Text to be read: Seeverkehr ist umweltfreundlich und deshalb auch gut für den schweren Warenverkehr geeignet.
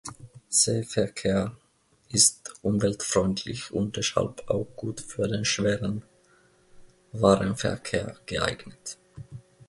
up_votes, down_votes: 0, 2